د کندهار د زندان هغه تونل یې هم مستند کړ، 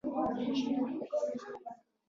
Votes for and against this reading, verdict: 1, 2, rejected